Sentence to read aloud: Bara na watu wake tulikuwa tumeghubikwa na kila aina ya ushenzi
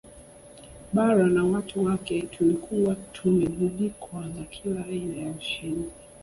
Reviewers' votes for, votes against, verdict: 0, 2, rejected